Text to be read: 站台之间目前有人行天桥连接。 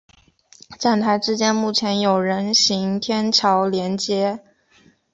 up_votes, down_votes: 4, 0